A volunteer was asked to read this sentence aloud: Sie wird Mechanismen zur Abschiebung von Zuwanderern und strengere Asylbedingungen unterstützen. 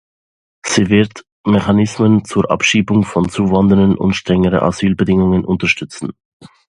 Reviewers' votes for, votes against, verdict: 2, 0, accepted